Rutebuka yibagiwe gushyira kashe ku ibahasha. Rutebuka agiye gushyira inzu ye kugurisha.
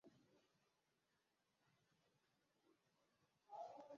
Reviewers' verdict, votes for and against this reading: rejected, 0, 2